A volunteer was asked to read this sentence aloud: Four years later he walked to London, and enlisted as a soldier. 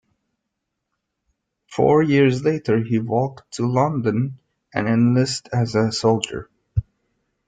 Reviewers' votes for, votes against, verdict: 0, 2, rejected